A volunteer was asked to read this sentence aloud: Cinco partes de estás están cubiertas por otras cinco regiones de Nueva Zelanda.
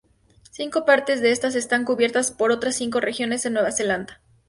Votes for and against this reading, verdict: 0, 2, rejected